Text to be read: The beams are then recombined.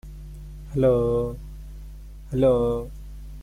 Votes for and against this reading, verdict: 0, 2, rejected